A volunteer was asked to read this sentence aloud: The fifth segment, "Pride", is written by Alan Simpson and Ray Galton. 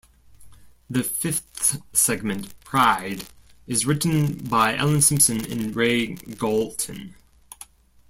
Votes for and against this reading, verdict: 1, 2, rejected